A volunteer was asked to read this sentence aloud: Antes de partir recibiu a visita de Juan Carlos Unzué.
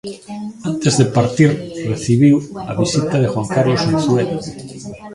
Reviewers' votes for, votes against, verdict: 0, 2, rejected